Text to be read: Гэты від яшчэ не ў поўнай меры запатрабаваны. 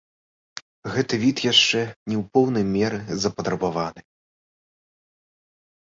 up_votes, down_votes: 2, 0